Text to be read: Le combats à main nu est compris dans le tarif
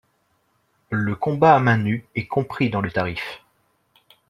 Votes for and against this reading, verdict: 2, 0, accepted